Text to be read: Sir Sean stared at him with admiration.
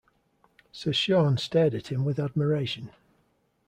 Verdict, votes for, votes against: accepted, 2, 0